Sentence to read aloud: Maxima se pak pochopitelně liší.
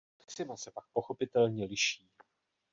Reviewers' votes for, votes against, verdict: 1, 2, rejected